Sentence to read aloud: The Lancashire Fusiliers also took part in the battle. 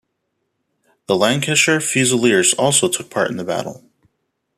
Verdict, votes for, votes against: accepted, 2, 0